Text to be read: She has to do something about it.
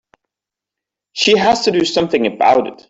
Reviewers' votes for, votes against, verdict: 2, 0, accepted